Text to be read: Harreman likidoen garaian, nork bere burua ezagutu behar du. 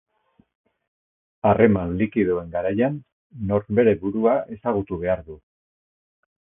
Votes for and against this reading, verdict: 2, 2, rejected